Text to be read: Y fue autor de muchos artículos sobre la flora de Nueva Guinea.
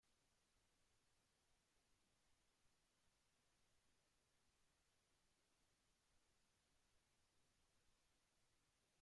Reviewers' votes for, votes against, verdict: 0, 2, rejected